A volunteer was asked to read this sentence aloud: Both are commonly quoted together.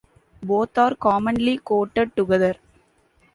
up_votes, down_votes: 1, 2